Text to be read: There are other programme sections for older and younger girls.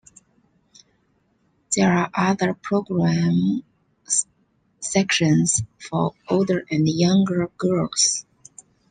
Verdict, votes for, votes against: rejected, 0, 2